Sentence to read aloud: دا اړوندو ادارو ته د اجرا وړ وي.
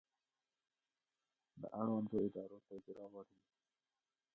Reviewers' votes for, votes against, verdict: 0, 2, rejected